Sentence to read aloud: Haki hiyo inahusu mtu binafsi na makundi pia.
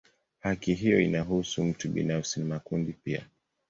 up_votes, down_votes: 2, 1